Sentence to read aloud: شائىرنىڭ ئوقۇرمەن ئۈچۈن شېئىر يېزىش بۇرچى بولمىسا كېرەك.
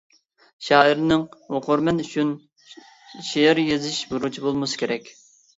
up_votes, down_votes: 0, 2